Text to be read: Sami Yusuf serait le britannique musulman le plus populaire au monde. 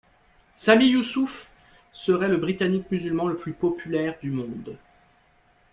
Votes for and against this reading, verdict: 1, 2, rejected